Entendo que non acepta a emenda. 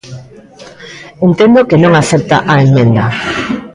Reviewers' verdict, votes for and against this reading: rejected, 0, 2